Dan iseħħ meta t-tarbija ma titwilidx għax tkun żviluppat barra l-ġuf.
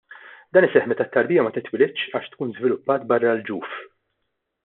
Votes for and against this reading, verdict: 2, 0, accepted